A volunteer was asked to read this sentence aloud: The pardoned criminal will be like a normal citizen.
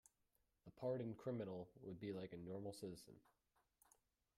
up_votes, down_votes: 0, 2